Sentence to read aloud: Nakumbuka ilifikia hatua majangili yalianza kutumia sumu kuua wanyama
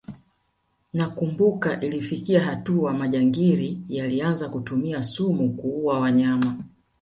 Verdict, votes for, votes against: accepted, 2, 0